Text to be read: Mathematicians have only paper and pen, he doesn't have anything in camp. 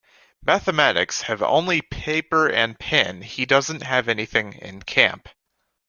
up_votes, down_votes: 1, 2